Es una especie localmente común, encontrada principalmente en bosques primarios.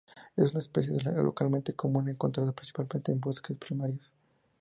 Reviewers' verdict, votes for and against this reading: accepted, 2, 0